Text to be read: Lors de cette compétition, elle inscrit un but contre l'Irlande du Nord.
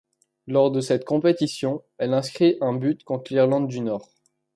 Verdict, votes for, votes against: accepted, 2, 0